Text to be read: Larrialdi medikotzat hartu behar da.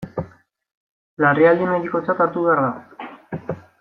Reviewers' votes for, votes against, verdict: 2, 1, accepted